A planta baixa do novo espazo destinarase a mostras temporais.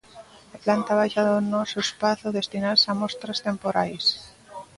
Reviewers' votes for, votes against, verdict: 0, 2, rejected